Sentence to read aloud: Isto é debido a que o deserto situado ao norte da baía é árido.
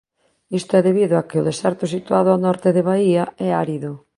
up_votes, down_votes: 0, 2